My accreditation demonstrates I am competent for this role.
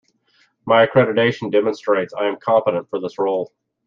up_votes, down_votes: 2, 0